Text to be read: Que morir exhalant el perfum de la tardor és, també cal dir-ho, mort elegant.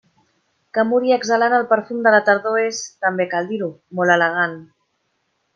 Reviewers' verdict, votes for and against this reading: rejected, 1, 2